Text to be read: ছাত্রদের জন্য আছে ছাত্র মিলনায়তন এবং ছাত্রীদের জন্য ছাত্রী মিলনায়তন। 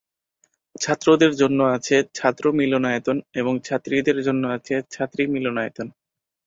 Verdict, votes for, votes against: accepted, 4, 0